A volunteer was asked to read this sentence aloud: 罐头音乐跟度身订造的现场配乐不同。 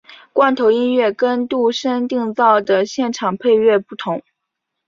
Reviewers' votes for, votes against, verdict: 3, 0, accepted